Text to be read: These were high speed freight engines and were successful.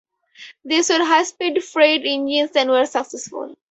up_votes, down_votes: 0, 2